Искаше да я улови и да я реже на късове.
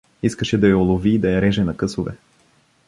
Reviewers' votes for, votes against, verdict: 2, 0, accepted